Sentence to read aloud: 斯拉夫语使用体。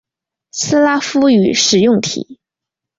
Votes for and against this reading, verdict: 6, 0, accepted